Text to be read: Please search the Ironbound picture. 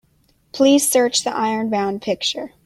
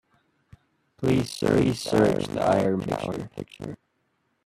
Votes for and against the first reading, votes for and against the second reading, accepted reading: 2, 0, 0, 2, first